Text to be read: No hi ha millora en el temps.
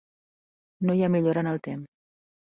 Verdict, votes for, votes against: rejected, 0, 2